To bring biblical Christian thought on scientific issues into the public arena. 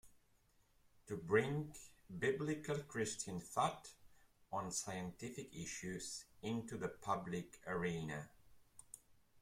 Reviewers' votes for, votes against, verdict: 1, 2, rejected